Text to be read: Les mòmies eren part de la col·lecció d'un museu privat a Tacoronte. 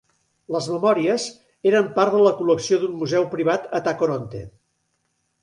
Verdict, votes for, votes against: rejected, 0, 2